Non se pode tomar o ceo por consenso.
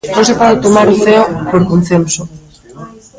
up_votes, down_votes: 0, 2